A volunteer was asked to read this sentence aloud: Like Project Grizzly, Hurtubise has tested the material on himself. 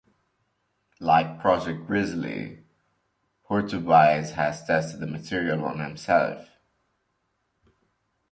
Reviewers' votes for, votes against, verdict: 3, 1, accepted